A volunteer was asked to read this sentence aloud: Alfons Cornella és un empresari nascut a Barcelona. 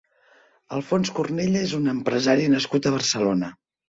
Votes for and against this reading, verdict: 2, 0, accepted